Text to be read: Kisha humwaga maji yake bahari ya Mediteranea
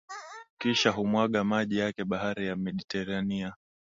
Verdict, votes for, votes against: accepted, 2, 0